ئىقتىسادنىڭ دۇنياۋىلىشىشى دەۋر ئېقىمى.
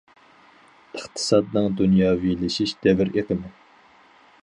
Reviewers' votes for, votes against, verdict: 0, 4, rejected